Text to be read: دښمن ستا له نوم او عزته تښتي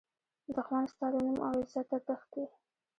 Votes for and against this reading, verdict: 0, 2, rejected